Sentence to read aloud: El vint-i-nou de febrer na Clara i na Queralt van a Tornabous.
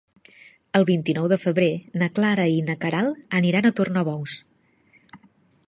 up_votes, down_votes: 1, 2